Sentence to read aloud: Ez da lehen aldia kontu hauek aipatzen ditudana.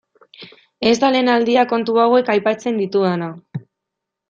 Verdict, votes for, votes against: accepted, 2, 0